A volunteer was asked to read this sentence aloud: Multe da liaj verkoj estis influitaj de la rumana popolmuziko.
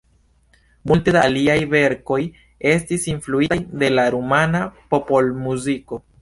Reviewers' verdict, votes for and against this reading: accepted, 2, 0